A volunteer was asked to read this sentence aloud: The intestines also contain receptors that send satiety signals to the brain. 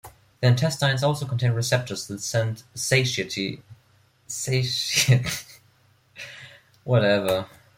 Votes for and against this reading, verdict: 1, 2, rejected